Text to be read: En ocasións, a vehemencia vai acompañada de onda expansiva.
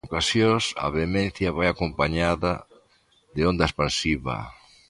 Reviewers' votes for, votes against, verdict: 0, 2, rejected